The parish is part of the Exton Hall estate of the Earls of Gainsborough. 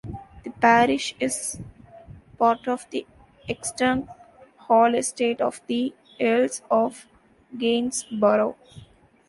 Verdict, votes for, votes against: accepted, 2, 0